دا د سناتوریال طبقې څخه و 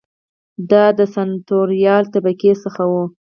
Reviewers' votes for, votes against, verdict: 0, 4, rejected